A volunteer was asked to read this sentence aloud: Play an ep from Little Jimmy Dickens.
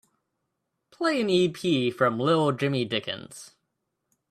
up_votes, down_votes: 2, 0